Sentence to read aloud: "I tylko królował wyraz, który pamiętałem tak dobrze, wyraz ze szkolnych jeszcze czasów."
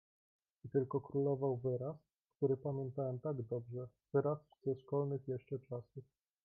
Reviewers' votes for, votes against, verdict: 1, 2, rejected